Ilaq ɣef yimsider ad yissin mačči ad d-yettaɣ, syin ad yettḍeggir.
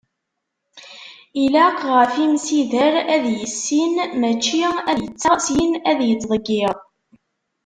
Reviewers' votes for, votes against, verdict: 0, 2, rejected